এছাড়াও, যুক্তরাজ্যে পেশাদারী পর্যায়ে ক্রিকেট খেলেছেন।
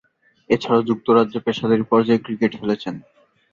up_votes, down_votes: 2, 1